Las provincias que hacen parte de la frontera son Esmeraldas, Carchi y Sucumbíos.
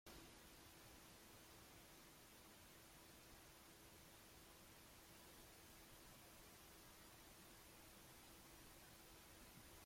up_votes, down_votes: 0, 2